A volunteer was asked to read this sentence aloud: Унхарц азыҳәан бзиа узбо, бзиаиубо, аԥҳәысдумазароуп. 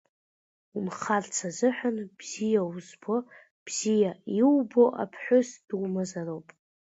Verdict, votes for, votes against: accepted, 2, 0